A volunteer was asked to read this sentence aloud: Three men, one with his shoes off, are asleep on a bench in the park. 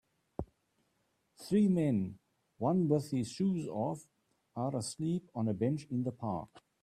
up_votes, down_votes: 2, 0